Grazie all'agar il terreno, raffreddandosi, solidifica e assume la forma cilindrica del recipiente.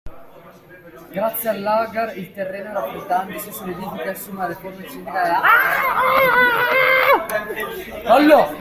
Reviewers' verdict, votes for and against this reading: rejected, 0, 2